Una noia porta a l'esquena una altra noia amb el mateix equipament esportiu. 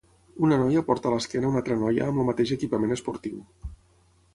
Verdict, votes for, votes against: accepted, 6, 0